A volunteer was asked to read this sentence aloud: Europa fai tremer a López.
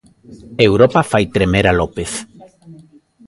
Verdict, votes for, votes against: rejected, 1, 2